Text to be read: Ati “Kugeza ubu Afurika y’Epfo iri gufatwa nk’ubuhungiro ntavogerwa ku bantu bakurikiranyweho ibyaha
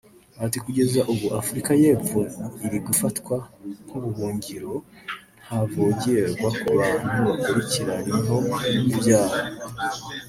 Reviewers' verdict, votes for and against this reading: accepted, 2, 0